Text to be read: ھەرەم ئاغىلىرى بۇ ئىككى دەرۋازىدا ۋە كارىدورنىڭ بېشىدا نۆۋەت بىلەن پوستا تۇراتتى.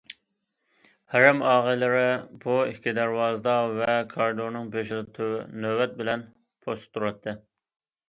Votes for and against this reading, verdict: 0, 2, rejected